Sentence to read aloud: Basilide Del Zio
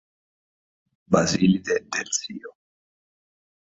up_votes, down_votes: 1, 2